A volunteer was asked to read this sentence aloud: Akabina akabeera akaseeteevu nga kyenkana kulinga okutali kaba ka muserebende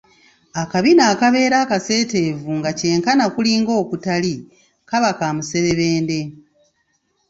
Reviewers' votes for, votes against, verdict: 1, 2, rejected